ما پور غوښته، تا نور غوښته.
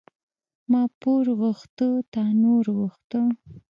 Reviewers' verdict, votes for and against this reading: rejected, 0, 2